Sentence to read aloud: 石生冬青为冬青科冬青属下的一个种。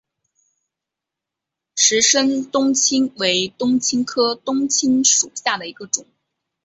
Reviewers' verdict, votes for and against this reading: accepted, 3, 0